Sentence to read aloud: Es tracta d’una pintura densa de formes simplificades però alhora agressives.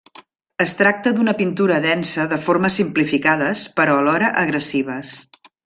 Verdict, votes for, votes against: accepted, 3, 0